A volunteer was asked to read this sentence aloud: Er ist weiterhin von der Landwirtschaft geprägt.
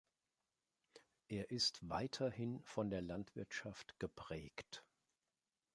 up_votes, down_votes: 2, 0